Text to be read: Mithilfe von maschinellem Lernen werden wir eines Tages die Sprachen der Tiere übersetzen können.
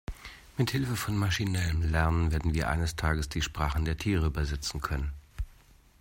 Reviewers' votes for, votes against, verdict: 2, 0, accepted